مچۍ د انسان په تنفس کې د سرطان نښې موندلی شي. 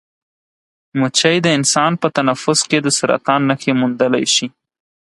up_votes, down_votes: 4, 0